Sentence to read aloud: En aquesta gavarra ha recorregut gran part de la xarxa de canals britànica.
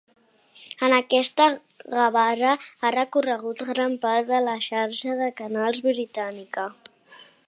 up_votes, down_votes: 2, 1